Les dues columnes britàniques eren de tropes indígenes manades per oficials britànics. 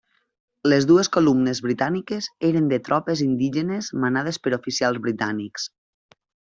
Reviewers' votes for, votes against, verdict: 3, 0, accepted